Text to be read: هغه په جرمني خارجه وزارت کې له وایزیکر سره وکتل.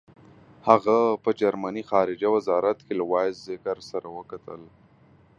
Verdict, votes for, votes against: accepted, 2, 0